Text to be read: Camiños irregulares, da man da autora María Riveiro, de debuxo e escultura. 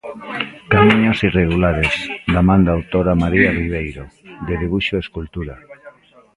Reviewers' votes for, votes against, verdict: 0, 2, rejected